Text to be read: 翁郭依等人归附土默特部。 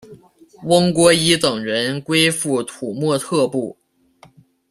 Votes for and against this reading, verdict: 2, 0, accepted